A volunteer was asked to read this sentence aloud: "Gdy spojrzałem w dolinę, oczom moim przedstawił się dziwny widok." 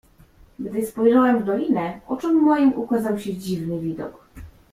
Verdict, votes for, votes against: rejected, 0, 2